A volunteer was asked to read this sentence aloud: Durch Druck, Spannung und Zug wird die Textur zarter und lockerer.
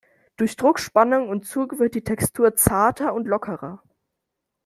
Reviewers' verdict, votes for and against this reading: accepted, 2, 0